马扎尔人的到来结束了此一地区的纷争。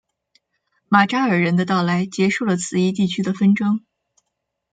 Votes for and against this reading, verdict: 2, 0, accepted